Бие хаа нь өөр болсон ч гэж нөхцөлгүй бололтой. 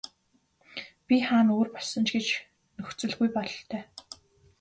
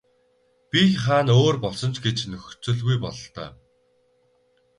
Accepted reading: first